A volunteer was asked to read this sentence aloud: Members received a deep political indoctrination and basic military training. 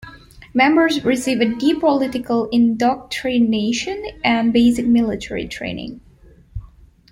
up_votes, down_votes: 1, 2